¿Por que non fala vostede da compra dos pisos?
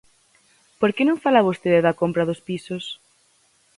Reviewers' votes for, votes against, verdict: 4, 0, accepted